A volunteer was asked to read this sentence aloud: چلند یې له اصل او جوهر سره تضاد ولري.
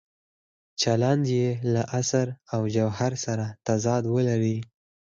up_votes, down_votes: 4, 0